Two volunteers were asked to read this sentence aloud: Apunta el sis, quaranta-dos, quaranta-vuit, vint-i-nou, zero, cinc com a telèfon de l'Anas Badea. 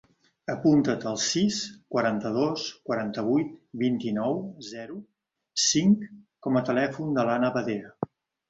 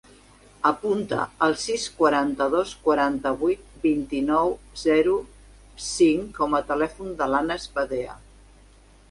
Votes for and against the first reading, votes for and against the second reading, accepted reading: 0, 5, 2, 0, second